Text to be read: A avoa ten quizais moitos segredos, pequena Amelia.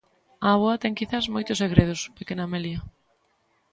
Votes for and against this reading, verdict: 2, 0, accepted